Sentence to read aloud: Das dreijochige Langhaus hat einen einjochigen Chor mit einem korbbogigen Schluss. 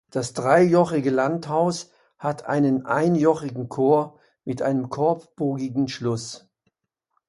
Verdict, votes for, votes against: rejected, 1, 2